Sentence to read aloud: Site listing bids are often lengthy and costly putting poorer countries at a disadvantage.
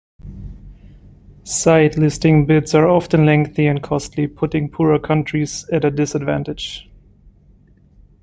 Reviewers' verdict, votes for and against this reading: accepted, 2, 0